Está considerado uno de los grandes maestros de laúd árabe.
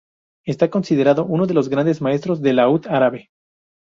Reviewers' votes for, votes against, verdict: 4, 0, accepted